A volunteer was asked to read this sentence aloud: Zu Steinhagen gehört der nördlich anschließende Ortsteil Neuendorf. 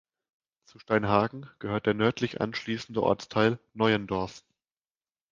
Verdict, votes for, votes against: accepted, 2, 1